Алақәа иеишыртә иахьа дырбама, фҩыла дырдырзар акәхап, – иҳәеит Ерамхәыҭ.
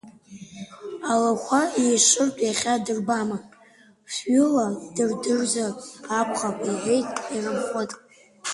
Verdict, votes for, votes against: rejected, 1, 2